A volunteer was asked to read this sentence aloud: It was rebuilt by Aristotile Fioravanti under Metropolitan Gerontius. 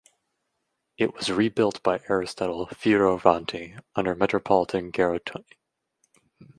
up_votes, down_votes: 0, 2